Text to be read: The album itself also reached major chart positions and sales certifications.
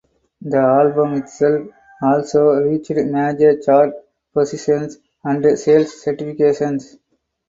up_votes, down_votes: 2, 2